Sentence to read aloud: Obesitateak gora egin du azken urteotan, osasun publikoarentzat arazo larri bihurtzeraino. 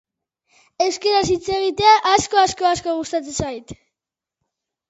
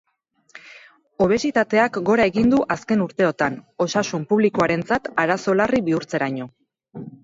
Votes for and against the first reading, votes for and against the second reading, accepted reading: 1, 2, 6, 0, second